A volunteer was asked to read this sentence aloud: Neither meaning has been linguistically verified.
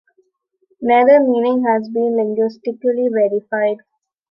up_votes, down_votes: 2, 0